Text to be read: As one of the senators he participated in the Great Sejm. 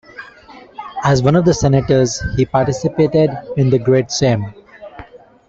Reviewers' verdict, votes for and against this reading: accepted, 2, 0